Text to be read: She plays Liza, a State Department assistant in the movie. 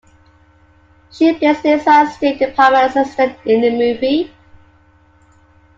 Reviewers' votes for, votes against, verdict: 0, 2, rejected